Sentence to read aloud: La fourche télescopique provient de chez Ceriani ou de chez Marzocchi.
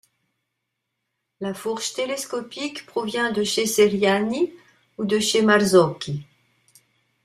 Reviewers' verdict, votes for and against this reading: rejected, 1, 2